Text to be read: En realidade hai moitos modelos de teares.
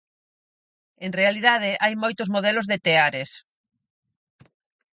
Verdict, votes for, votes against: accepted, 4, 0